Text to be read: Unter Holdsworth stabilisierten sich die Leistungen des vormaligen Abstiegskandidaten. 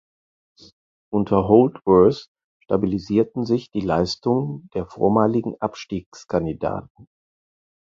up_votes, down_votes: 2, 4